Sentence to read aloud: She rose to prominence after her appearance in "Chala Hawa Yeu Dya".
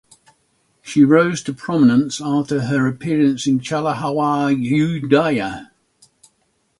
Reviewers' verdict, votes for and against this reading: rejected, 3, 3